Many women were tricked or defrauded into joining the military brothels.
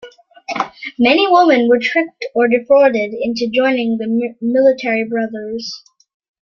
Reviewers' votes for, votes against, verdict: 1, 3, rejected